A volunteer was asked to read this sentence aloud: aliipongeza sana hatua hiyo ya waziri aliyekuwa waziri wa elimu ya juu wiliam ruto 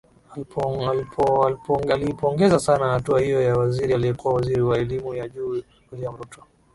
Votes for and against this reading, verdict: 4, 2, accepted